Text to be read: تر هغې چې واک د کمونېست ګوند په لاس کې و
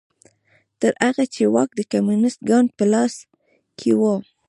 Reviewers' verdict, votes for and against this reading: accepted, 3, 1